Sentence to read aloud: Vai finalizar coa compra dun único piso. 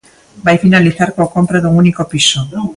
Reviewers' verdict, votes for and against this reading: rejected, 0, 2